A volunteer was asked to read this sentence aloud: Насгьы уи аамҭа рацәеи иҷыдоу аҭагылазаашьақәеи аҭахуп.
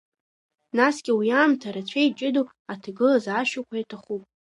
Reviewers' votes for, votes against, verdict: 0, 2, rejected